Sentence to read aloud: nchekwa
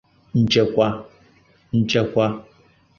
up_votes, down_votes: 0, 2